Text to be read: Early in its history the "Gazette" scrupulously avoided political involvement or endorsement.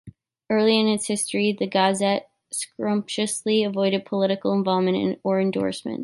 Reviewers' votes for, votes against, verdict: 1, 4, rejected